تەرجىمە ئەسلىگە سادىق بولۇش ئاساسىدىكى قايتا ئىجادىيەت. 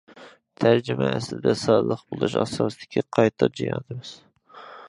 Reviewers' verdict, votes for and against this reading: rejected, 0, 2